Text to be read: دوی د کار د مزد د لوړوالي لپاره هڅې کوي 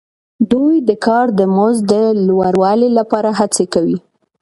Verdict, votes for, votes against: accepted, 2, 0